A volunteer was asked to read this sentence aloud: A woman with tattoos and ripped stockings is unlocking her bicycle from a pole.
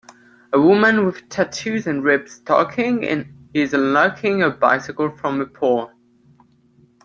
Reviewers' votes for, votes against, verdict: 0, 2, rejected